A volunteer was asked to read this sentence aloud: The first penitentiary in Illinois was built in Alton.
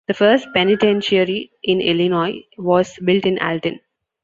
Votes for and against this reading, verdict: 2, 0, accepted